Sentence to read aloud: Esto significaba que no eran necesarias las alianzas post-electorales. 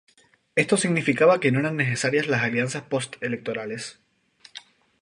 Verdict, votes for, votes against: accepted, 2, 0